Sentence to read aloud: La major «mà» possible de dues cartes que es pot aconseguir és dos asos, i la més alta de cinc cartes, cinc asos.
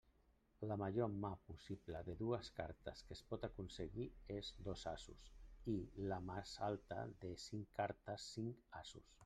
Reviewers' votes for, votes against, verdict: 0, 2, rejected